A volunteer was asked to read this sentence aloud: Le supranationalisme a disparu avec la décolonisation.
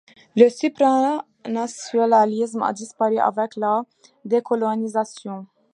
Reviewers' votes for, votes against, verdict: 0, 2, rejected